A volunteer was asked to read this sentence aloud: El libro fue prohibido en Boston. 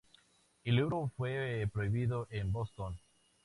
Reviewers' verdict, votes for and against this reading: rejected, 0, 2